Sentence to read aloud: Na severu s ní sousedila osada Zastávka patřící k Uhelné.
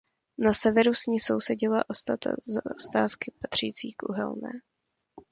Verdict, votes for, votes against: rejected, 0, 2